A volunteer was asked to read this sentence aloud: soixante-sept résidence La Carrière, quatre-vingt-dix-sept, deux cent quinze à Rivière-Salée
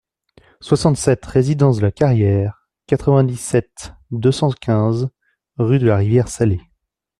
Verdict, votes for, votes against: rejected, 0, 2